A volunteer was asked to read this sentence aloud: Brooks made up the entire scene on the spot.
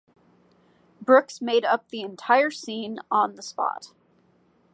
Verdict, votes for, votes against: accepted, 2, 0